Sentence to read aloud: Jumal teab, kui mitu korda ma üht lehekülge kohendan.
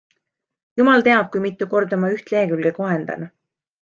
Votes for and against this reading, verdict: 2, 0, accepted